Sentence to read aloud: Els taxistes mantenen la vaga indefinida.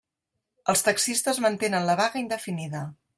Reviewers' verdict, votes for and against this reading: accepted, 3, 0